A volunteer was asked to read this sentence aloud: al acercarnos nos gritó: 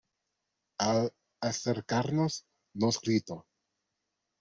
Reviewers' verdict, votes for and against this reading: accepted, 2, 1